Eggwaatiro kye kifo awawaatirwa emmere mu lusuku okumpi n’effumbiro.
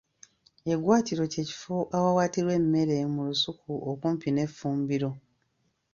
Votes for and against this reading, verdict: 2, 0, accepted